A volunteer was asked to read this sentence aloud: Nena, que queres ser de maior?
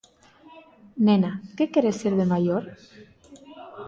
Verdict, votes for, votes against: rejected, 0, 2